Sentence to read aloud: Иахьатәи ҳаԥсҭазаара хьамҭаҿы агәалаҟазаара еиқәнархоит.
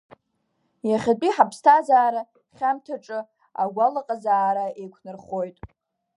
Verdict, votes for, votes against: accepted, 2, 0